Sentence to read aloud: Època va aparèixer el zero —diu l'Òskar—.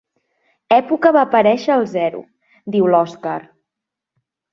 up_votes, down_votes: 3, 0